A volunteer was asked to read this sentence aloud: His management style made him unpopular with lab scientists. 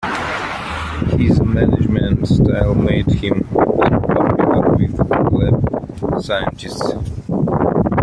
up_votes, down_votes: 2, 0